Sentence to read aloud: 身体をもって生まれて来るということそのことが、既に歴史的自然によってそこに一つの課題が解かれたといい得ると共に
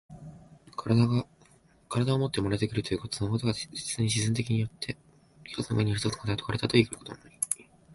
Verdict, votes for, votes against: rejected, 0, 2